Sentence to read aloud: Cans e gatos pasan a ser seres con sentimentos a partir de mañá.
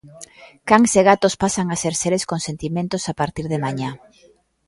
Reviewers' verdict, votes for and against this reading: rejected, 1, 2